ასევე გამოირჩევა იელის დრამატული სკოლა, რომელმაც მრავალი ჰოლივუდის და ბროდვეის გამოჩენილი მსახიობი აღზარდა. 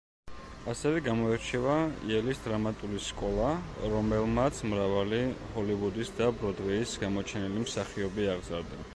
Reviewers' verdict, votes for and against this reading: accepted, 2, 0